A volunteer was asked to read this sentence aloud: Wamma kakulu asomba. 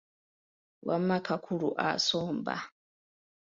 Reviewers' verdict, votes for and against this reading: accepted, 3, 0